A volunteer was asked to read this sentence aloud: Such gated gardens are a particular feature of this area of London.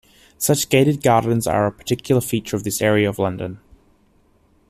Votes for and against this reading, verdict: 2, 0, accepted